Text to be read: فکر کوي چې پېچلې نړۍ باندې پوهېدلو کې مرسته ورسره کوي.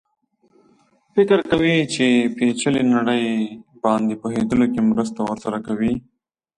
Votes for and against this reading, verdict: 2, 0, accepted